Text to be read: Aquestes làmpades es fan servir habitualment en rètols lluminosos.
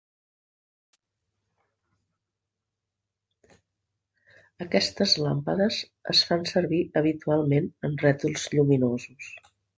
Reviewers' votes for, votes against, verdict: 2, 1, accepted